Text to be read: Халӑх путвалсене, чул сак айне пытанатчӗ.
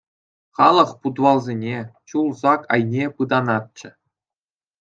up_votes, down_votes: 2, 0